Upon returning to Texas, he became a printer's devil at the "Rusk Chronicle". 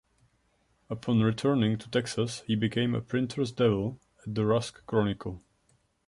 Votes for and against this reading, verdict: 1, 2, rejected